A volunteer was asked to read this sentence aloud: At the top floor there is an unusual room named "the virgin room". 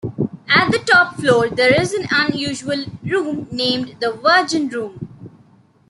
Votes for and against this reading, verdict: 1, 2, rejected